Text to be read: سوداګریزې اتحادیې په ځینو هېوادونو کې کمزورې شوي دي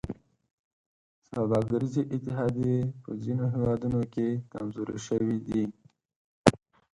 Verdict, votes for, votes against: accepted, 4, 0